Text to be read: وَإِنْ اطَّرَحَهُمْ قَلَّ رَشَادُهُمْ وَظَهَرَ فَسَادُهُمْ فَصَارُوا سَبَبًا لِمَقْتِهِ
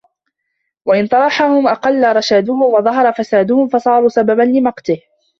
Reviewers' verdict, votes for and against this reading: rejected, 0, 2